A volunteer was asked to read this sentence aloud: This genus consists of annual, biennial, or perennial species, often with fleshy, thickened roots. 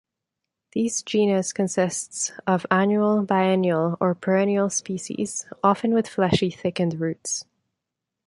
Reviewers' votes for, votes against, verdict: 2, 0, accepted